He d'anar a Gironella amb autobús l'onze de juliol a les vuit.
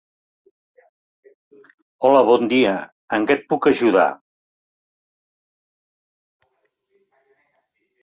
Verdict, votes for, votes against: rejected, 0, 2